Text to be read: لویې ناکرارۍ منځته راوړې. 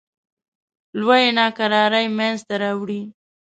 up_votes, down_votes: 2, 0